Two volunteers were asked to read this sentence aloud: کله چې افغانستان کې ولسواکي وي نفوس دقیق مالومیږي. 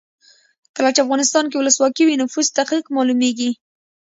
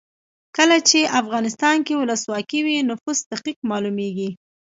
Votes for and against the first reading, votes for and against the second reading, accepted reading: 0, 2, 2, 1, second